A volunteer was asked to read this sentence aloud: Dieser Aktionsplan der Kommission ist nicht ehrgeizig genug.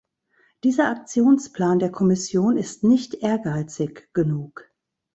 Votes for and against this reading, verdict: 2, 0, accepted